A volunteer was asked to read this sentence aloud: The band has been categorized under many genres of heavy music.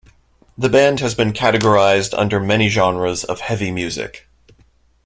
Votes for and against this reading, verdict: 2, 0, accepted